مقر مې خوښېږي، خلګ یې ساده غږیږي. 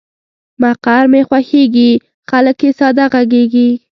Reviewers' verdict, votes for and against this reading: rejected, 1, 2